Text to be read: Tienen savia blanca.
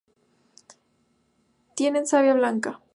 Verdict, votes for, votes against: rejected, 0, 2